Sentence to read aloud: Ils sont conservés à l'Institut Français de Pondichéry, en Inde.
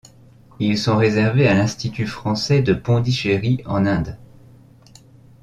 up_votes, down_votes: 1, 2